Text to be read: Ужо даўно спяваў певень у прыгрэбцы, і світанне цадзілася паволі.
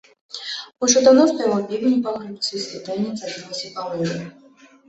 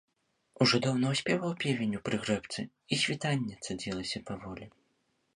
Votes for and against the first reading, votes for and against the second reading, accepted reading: 0, 2, 2, 0, second